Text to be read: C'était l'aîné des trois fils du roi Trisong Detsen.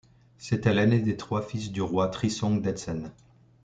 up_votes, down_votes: 2, 0